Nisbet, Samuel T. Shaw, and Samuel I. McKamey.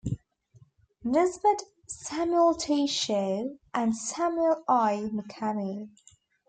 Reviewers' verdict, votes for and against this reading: rejected, 0, 2